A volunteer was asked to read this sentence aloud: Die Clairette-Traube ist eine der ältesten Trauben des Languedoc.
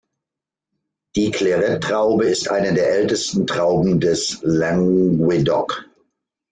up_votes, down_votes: 0, 2